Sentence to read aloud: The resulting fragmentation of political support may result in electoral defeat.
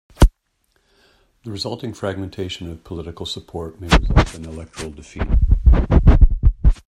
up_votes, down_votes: 0, 2